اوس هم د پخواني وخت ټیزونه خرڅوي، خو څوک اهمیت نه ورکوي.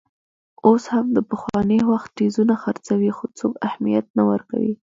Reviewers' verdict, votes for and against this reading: rejected, 0, 2